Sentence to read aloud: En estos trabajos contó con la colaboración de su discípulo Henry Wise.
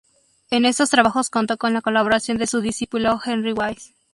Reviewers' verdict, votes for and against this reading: accepted, 2, 0